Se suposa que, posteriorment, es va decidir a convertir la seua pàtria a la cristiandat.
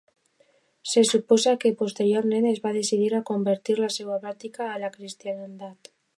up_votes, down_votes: 1, 2